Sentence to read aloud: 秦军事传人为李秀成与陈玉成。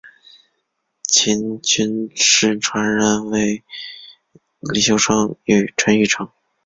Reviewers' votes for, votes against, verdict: 0, 2, rejected